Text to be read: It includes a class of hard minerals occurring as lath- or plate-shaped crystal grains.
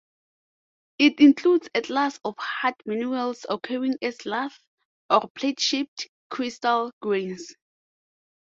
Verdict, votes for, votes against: accepted, 2, 0